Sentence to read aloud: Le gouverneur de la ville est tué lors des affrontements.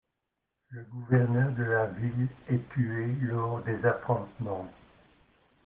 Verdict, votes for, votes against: rejected, 1, 2